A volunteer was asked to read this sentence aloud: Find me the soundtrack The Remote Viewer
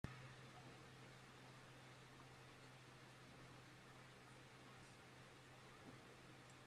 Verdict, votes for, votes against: rejected, 0, 2